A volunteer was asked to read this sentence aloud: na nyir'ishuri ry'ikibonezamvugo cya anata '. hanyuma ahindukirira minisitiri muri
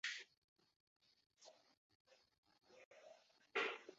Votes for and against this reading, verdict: 0, 2, rejected